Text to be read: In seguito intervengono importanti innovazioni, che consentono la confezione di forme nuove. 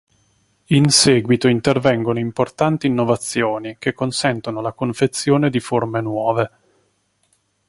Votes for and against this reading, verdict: 3, 0, accepted